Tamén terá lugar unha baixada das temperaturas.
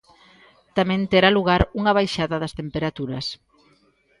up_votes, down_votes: 2, 0